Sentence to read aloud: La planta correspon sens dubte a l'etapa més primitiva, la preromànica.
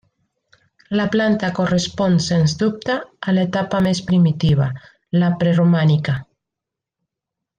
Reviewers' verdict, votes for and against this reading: accepted, 3, 0